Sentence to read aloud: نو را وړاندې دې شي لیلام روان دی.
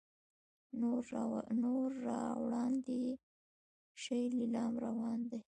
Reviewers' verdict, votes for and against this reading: rejected, 1, 2